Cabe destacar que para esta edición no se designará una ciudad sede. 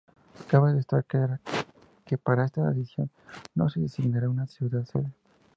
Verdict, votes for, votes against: accepted, 2, 0